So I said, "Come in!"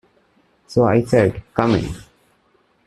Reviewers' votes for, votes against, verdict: 1, 2, rejected